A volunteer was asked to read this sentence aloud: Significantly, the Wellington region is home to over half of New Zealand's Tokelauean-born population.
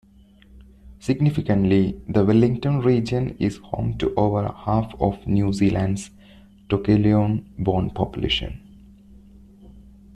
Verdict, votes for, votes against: accepted, 2, 0